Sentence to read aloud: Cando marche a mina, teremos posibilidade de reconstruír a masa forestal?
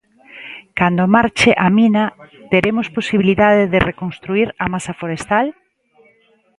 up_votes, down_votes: 2, 0